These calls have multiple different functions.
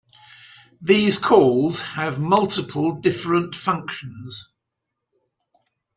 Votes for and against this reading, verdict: 2, 1, accepted